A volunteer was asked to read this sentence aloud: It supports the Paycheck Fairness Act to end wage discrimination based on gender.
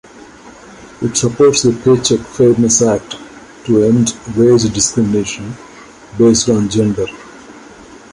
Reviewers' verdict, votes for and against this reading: accepted, 3, 0